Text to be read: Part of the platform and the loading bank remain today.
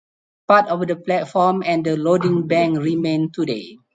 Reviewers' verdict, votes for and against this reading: accepted, 4, 0